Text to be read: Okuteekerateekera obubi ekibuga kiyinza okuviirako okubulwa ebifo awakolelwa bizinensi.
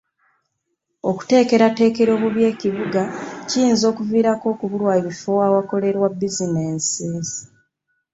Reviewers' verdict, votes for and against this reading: rejected, 1, 2